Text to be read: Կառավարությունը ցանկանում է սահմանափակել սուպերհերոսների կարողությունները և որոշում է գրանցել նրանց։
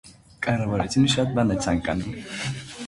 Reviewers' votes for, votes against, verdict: 0, 2, rejected